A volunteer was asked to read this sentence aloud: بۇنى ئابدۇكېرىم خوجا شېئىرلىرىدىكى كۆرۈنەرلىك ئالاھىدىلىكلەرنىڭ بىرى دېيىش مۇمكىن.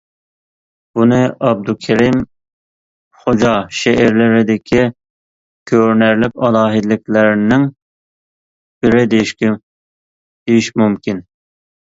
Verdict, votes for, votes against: rejected, 0, 2